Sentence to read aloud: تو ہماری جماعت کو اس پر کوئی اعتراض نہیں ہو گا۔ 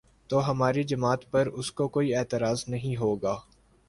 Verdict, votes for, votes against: accepted, 2, 0